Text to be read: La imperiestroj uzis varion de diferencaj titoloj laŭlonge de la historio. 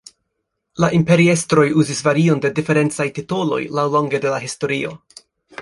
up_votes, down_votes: 3, 0